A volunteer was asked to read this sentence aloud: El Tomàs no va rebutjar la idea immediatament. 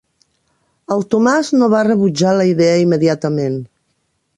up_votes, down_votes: 3, 0